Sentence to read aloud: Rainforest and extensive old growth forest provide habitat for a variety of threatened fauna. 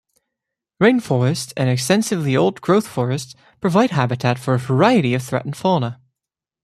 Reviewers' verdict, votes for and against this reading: rejected, 1, 2